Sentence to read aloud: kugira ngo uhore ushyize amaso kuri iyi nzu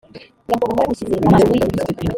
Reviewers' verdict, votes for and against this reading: rejected, 0, 2